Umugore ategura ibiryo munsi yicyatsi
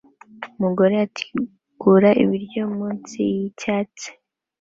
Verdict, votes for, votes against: accepted, 2, 1